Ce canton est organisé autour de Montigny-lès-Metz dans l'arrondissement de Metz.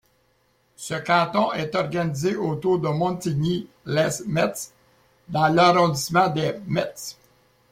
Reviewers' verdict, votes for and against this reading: accepted, 2, 1